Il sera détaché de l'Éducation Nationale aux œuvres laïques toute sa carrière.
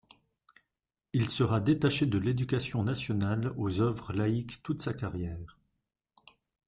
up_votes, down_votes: 2, 0